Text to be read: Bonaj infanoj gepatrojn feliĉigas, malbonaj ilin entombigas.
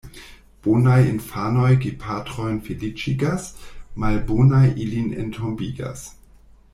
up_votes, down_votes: 1, 2